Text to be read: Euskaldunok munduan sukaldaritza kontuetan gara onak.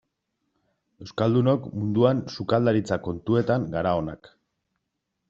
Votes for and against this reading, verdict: 2, 0, accepted